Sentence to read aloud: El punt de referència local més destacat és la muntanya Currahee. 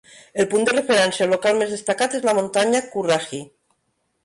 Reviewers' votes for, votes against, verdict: 3, 1, accepted